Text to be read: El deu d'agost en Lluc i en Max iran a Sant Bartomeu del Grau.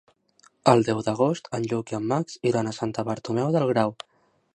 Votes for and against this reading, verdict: 0, 2, rejected